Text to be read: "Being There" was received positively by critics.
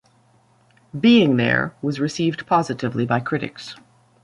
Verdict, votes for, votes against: accepted, 2, 0